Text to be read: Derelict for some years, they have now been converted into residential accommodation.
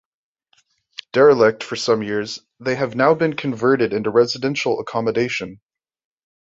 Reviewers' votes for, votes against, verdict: 2, 0, accepted